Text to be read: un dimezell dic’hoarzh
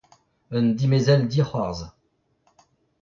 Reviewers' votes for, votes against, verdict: 0, 2, rejected